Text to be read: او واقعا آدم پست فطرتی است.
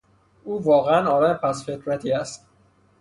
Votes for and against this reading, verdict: 0, 3, rejected